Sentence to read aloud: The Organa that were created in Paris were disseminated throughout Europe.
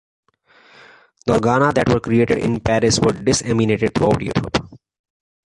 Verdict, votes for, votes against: rejected, 1, 2